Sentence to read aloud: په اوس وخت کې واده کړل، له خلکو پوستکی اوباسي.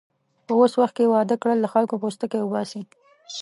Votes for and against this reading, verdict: 3, 0, accepted